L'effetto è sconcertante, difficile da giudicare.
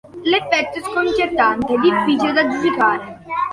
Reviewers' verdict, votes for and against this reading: accepted, 2, 0